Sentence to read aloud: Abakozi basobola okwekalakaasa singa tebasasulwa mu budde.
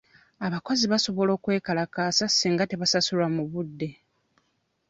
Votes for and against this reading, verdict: 2, 0, accepted